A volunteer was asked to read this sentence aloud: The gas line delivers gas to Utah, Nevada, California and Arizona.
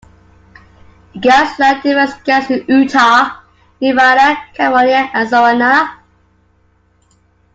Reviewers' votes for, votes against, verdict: 1, 2, rejected